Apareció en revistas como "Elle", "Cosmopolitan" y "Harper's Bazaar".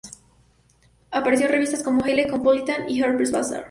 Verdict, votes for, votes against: rejected, 0, 2